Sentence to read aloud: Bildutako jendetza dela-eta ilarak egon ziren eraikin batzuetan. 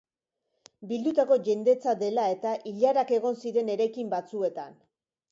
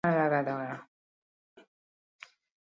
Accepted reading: first